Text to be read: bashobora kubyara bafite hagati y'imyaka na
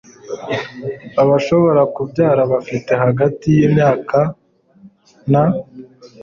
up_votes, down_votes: 1, 2